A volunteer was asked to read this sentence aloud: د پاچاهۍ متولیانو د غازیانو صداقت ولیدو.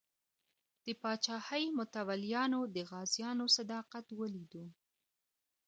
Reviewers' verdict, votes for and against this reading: accepted, 2, 1